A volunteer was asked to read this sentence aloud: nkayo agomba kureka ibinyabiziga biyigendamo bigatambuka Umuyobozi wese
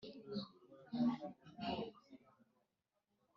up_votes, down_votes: 0, 3